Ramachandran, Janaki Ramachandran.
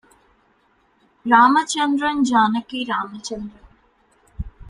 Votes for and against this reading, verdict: 2, 0, accepted